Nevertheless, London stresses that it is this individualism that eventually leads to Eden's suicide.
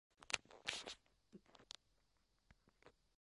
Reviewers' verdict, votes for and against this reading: rejected, 0, 2